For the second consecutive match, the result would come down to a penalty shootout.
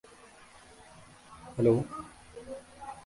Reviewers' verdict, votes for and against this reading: rejected, 0, 2